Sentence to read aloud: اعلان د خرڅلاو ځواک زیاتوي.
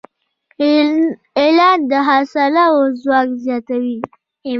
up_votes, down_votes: 1, 2